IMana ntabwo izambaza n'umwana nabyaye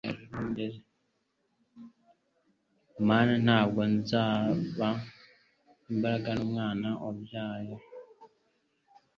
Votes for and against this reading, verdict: 0, 2, rejected